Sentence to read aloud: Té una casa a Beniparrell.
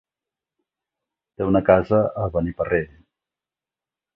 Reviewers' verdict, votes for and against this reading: accepted, 2, 0